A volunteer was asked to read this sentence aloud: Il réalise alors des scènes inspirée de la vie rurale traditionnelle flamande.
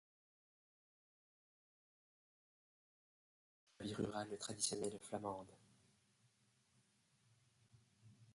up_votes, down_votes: 0, 2